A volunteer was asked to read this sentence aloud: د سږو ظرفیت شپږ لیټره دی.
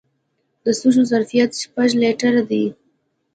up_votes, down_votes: 2, 0